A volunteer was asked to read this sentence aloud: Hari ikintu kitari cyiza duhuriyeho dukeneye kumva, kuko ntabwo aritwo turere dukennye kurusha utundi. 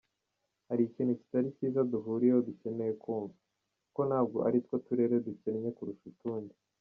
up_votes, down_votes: 1, 2